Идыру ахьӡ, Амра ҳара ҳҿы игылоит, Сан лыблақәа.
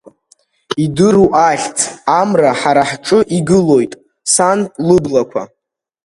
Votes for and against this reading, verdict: 2, 0, accepted